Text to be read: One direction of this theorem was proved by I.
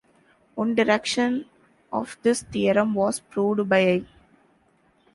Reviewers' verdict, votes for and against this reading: accepted, 2, 1